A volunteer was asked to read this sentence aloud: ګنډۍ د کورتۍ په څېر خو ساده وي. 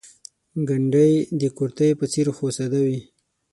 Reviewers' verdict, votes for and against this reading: accepted, 6, 3